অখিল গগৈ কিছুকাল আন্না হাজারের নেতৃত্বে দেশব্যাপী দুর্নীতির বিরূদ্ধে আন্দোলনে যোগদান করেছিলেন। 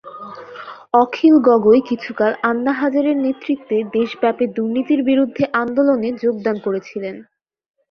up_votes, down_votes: 2, 0